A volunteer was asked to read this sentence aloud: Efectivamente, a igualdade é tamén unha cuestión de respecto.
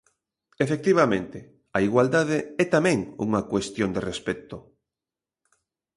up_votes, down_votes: 2, 0